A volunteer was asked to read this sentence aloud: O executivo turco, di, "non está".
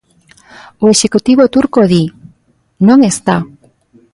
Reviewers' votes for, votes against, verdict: 2, 0, accepted